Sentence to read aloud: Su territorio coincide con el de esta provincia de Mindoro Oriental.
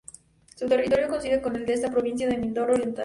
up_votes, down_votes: 2, 0